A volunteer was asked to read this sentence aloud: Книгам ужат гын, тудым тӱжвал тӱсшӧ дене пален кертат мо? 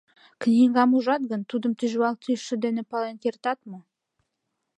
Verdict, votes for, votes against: accepted, 2, 0